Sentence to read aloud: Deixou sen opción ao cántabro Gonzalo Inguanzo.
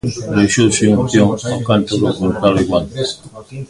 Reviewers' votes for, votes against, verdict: 0, 2, rejected